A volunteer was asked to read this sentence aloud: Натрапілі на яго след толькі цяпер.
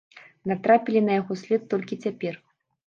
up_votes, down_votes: 2, 0